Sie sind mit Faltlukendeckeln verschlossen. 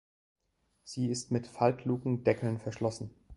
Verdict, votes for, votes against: rejected, 0, 2